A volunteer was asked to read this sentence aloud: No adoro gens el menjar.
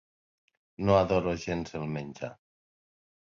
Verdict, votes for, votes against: accepted, 3, 0